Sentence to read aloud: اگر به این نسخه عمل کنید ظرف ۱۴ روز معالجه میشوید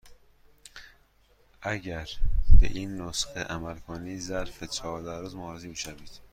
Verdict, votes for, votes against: rejected, 0, 2